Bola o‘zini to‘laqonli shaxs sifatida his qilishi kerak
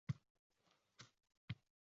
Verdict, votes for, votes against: rejected, 0, 2